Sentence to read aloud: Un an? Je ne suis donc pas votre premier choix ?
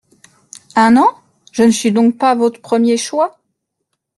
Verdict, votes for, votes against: accepted, 2, 0